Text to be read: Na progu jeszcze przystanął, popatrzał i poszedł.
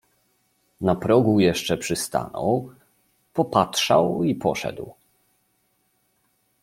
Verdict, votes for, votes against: accepted, 6, 0